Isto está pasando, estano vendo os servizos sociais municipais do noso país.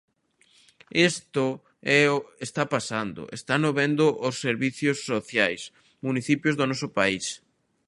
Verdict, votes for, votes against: rejected, 0, 2